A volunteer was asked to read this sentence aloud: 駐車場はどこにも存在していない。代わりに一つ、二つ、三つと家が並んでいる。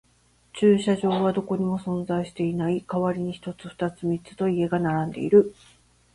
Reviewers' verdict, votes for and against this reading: accepted, 4, 0